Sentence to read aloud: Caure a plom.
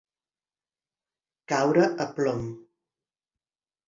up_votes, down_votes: 2, 0